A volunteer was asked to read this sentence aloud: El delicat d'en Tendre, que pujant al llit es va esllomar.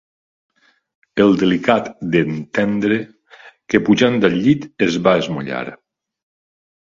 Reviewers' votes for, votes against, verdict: 1, 2, rejected